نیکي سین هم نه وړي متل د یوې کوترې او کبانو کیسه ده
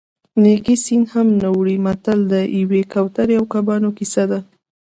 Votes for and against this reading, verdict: 0, 2, rejected